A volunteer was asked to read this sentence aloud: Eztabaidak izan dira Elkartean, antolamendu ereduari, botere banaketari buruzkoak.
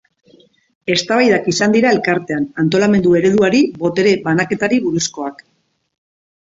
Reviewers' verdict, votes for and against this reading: accepted, 2, 0